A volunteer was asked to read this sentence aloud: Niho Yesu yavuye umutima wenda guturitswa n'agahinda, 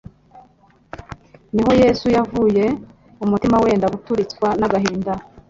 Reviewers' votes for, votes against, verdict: 3, 0, accepted